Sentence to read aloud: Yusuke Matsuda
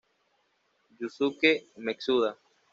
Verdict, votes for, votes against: rejected, 1, 2